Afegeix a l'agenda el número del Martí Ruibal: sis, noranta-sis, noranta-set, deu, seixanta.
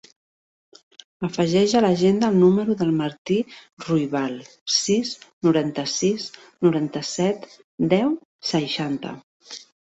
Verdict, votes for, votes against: accepted, 2, 0